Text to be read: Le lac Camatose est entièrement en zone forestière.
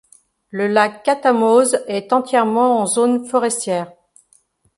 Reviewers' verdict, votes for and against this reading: rejected, 0, 2